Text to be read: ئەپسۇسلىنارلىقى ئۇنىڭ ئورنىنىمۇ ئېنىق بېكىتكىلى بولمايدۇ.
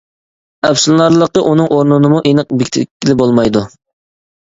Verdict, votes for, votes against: rejected, 0, 2